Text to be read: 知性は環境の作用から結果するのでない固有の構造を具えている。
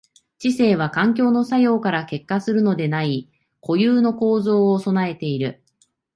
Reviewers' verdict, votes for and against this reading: accepted, 2, 0